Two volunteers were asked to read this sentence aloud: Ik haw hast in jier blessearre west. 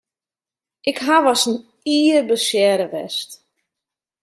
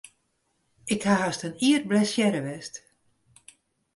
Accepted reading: second